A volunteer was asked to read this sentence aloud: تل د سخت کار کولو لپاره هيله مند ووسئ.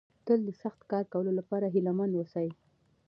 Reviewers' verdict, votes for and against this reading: accepted, 2, 0